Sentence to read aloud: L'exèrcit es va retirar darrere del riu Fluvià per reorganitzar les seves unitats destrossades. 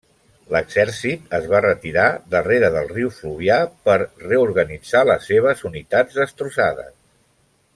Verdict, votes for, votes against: accepted, 2, 0